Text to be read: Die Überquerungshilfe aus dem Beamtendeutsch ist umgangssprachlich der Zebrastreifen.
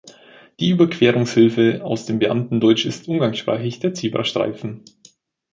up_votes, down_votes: 2, 0